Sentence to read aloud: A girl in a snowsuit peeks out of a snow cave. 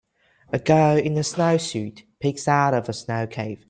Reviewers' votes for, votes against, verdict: 2, 0, accepted